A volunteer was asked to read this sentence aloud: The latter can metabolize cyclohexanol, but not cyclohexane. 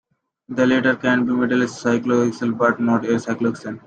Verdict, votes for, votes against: rejected, 1, 2